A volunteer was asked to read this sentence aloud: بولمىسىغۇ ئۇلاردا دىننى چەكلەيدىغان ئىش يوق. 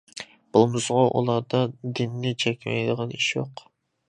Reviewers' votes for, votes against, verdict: 2, 0, accepted